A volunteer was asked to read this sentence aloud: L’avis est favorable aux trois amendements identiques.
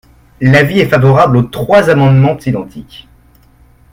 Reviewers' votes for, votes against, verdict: 2, 0, accepted